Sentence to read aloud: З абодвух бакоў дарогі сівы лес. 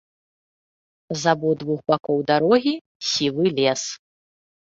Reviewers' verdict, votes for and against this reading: accepted, 2, 0